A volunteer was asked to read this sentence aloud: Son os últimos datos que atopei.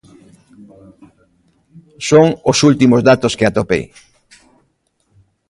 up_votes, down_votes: 2, 0